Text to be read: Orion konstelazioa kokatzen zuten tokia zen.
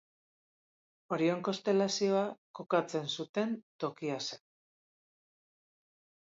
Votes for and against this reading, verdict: 2, 0, accepted